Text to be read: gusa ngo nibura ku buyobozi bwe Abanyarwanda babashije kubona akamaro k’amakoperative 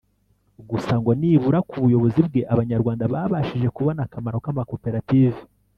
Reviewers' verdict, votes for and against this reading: rejected, 1, 2